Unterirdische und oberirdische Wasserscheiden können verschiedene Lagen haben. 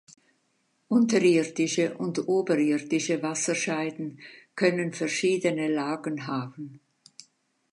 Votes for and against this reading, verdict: 2, 0, accepted